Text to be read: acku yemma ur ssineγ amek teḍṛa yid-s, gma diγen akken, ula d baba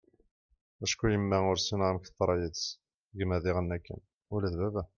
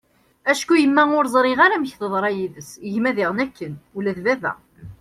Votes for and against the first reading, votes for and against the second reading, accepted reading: 2, 0, 0, 2, first